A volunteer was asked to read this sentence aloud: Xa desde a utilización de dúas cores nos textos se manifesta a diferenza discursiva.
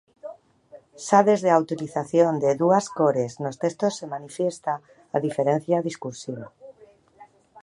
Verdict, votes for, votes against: rejected, 1, 2